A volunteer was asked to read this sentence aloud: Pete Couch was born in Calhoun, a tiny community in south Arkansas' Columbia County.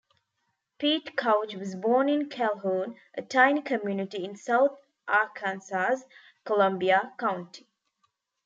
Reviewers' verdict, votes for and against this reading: rejected, 0, 2